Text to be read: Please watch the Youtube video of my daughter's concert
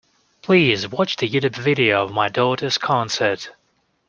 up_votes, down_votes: 2, 0